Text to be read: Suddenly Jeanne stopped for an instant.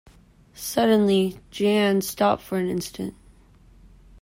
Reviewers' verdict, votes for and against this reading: accepted, 2, 0